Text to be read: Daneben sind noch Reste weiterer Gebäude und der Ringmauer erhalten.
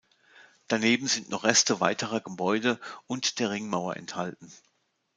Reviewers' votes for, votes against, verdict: 1, 2, rejected